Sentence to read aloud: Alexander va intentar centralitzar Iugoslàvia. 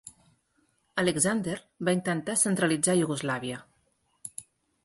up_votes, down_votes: 6, 0